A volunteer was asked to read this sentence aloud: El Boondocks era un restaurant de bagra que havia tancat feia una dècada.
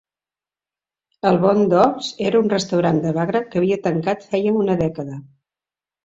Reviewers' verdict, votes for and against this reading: accepted, 3, 2